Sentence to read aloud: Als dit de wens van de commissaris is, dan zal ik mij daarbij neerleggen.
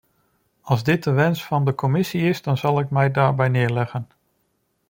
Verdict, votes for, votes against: rejected, 0, 2